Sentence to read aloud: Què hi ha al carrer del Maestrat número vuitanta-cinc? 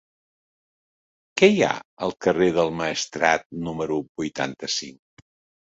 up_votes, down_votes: 3, 0